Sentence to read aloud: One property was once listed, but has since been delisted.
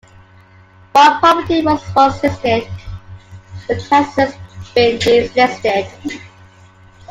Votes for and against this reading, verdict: 0, 2, rejected